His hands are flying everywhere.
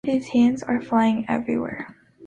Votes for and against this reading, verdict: 3, 0, accepted